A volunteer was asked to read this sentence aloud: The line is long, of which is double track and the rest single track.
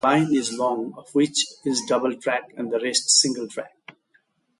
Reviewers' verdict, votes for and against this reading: rejected, 0, 2